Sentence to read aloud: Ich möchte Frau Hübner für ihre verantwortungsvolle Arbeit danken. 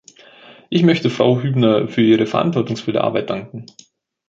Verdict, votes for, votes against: accepted, 2, 0